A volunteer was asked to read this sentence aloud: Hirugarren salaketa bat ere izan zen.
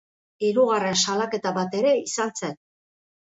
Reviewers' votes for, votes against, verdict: 2, 0, accepted